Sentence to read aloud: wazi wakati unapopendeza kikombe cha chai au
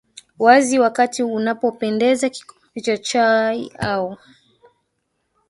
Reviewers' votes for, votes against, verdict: 2, 3, rejected